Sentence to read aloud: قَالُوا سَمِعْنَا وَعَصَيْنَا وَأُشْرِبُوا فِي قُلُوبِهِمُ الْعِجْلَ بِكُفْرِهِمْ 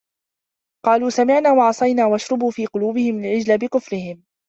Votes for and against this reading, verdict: 2, 1, accepted